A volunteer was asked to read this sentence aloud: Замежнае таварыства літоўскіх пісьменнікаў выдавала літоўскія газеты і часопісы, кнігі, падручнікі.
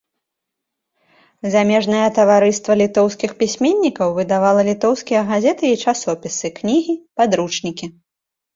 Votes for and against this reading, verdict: 3, 0, accepted